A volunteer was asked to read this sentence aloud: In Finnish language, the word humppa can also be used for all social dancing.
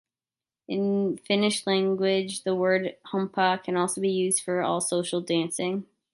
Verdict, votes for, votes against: accepted, 2, 0